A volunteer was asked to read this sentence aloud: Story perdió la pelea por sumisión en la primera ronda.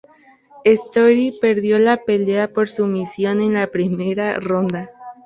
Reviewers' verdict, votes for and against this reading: accepted, 3, 0